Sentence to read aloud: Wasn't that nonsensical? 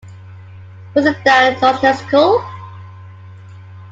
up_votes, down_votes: 1, 2